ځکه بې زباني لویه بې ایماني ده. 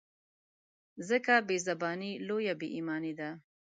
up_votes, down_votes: 2, 0